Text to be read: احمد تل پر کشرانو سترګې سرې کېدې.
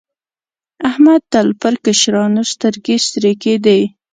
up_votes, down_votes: 2, 0